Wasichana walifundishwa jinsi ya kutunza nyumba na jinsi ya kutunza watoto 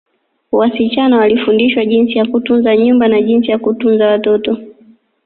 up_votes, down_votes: 2, 3